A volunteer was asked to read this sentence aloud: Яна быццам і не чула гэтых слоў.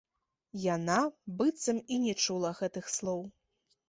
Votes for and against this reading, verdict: 2, 0, accepted